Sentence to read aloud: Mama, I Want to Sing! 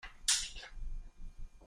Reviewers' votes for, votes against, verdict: 1, 2, rejected